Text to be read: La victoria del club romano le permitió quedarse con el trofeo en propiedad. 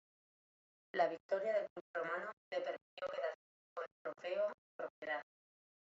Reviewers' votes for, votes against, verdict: 0, 2, rejected